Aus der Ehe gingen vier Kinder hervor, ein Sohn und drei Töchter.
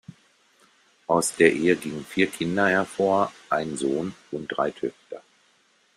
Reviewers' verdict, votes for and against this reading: accepted, 2, 0